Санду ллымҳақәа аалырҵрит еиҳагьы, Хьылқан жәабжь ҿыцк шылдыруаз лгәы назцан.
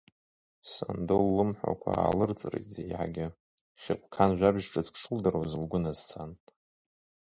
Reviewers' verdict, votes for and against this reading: rejected, 0, 2